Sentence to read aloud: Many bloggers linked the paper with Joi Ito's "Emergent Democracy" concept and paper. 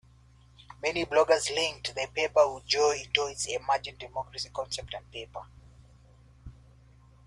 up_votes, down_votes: 0, 2